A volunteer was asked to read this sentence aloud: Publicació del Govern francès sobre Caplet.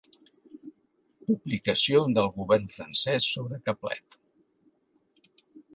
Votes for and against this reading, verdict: 4, 0, accepted